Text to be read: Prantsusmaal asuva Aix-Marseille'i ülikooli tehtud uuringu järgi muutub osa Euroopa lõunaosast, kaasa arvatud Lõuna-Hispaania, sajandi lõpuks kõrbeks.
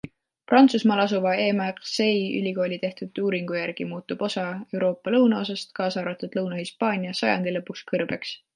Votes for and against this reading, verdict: 2, 0, accepted